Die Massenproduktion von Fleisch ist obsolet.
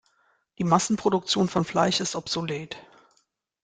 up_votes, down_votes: 2, 0